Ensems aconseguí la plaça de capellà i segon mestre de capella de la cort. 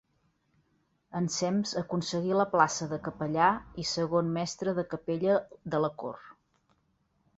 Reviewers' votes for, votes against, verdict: 2, 0, accepted